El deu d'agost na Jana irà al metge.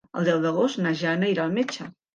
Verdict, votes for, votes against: accepted, 2, 0